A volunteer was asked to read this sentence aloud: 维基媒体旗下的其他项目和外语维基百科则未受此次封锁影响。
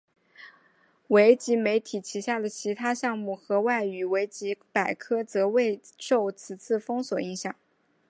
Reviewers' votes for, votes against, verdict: 2, 0, accepted